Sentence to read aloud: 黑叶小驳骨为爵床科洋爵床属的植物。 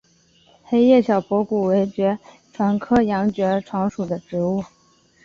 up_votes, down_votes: 4, 0